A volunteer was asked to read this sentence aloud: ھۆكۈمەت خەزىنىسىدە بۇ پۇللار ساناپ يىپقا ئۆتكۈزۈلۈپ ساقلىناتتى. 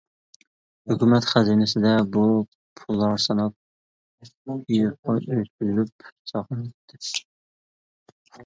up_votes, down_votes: 0, 2